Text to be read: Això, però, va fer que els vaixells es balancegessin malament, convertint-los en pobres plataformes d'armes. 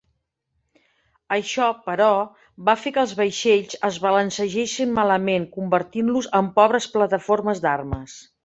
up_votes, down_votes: 3, 0